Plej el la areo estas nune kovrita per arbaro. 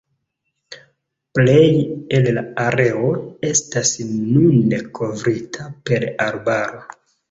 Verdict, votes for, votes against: accepted, 2, 1